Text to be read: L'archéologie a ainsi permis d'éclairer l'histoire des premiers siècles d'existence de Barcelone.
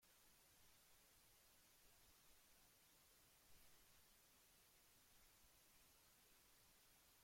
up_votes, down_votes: 0, 2